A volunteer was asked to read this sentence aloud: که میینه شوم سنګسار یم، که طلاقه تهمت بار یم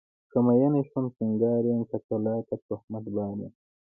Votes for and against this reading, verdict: 1, 2, rejected